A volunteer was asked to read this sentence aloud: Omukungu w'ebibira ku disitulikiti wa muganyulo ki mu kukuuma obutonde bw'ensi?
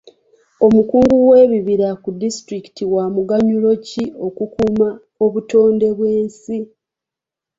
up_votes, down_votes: 2, 1